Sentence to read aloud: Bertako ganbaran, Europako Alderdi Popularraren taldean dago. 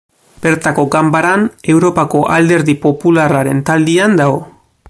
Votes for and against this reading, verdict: 2, 0, accepted